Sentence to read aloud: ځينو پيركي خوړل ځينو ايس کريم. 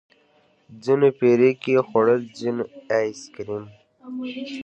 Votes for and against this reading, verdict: 2, 1, accepted